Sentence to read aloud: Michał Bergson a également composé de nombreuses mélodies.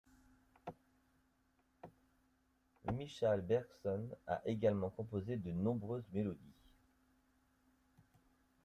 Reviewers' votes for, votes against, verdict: 1, 2, rejected